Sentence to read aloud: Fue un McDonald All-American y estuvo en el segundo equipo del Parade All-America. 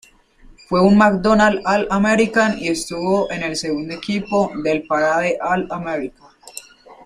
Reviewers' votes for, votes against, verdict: 1, 2, rejected